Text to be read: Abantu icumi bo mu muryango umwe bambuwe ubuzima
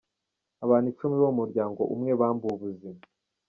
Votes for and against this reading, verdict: 2, 1, accepted